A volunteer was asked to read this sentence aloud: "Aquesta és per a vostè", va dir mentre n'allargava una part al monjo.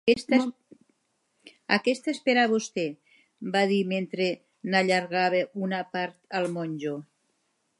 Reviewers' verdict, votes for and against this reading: rejected, 0, 2